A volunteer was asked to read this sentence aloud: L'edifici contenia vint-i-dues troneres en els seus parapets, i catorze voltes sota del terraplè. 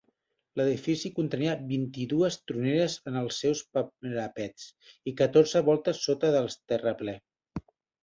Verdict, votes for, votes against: rejected, 0, 2